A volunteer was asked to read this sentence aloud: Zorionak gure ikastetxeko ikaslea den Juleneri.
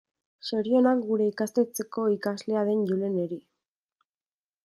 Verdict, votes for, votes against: rejected, 0, 2